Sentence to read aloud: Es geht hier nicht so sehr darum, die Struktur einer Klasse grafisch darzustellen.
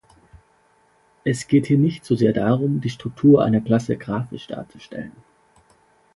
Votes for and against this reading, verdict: 2, 0, accepted